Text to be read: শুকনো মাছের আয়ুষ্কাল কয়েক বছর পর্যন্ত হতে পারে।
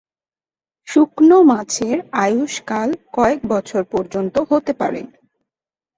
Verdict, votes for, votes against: accepted, 6, 0